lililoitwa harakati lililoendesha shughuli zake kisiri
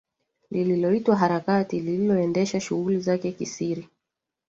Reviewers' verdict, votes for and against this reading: accepted, 2, 1